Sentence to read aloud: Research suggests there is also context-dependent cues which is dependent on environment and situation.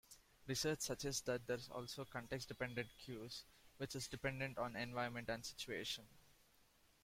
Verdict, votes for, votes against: rejected, 1, 2